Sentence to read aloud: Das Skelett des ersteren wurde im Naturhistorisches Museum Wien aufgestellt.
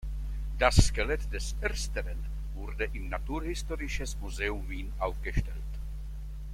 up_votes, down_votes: 1, 2